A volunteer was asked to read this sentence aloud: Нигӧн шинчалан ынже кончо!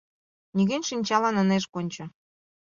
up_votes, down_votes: 0, 2